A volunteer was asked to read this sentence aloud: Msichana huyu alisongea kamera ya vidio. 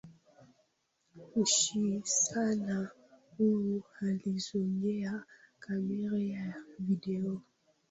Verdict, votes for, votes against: rejected, 0, 2